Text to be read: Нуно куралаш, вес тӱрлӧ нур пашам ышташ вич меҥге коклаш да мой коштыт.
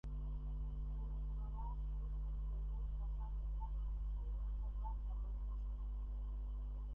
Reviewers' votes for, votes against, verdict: 0, 2, rejected